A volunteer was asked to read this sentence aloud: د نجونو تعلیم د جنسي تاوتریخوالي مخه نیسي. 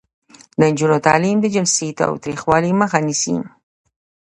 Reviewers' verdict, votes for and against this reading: rejected, 1, 2